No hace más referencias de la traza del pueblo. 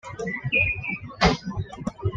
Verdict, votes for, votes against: rejected, 0, 2